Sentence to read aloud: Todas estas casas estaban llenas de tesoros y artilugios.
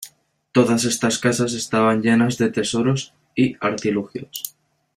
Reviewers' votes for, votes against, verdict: 2, 0, accepted